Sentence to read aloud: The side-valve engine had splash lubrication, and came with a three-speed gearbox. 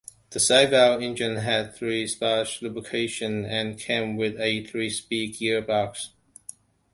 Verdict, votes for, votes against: rejected, 1, 2